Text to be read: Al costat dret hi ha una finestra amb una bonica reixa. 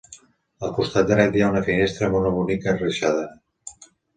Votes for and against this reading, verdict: 1, 2, rejected